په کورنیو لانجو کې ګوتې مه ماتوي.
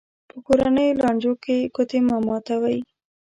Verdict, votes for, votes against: accepted, 2, 0